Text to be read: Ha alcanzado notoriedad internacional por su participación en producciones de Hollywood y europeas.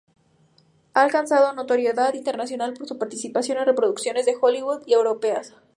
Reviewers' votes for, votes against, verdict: 0, 2, rejected